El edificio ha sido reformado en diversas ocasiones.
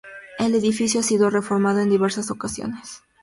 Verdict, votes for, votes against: accepted, 2, 0